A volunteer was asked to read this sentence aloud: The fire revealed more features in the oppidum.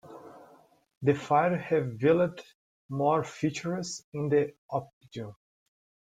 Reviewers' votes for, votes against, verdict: 0, 2, rejected